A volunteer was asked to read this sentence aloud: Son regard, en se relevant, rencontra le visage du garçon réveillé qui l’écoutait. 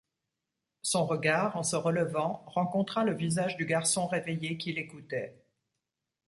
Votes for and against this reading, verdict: 2, 0, accepted